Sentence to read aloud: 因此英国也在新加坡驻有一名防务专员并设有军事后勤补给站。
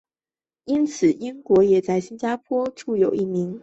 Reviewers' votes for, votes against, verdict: 0, 2, rejected